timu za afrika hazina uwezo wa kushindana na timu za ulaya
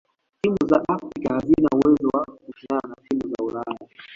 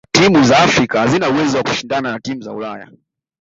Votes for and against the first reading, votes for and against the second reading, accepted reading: 0, 2, 2, 0, second